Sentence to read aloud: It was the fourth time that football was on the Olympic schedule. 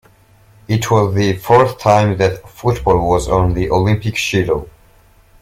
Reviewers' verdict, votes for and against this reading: rejected, 0, 2